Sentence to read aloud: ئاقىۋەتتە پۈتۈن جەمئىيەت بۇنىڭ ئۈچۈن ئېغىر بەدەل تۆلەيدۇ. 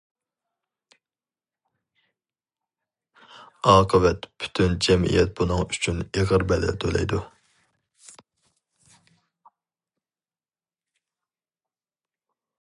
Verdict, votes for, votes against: rejected, 0, 2